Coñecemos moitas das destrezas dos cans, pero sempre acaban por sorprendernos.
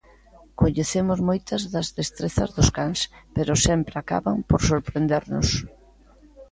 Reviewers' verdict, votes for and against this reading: accepted, 2, 0